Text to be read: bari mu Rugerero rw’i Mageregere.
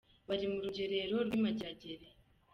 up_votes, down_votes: 2, 0